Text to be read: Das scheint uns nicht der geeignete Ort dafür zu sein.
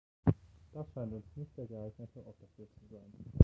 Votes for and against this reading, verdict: 0, 2, rejected